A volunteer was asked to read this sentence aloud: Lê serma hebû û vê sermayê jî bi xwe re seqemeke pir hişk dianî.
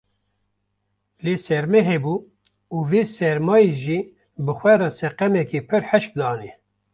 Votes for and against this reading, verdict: 1, 2, rejected